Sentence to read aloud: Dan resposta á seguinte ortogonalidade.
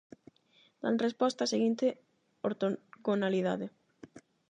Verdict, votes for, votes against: rejected, 4, 4